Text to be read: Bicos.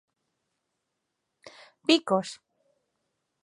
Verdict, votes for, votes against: accepted, 2, 0